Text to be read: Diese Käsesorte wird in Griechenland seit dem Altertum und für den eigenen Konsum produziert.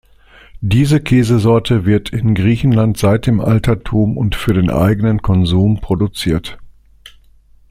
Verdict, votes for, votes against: accepted, 2, 0